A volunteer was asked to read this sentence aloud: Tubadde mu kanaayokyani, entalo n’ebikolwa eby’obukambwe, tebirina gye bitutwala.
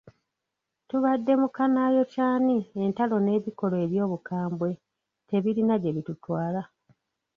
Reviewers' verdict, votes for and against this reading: rejected, 1, 2